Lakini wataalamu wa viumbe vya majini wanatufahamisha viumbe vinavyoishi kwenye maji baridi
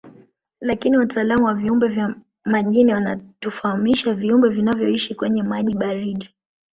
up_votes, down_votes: 2, 0